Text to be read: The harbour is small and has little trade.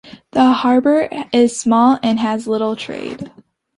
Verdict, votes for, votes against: accepted, 2, 0